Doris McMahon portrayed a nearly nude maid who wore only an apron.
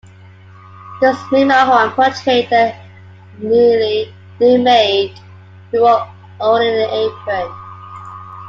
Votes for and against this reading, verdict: 2, 1, accepted